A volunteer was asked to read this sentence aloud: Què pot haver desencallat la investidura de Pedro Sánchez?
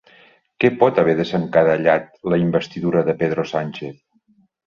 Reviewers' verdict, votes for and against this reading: rejected, 0, 2